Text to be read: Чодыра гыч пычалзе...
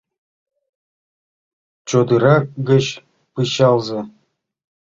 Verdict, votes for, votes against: accepted, 2, 0